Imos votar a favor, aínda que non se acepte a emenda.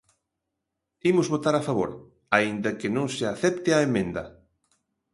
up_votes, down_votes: 2, 0